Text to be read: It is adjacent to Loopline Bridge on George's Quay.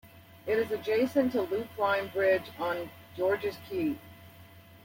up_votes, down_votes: 2, 0